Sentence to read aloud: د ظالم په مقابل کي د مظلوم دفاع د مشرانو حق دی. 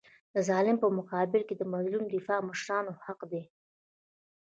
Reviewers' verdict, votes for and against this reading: accepted, 2, 0